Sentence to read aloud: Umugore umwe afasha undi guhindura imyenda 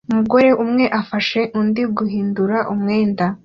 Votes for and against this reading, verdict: 2, 0, accepted